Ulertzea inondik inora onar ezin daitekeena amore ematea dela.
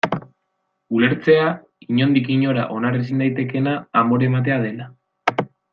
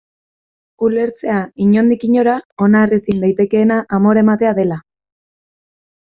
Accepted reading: first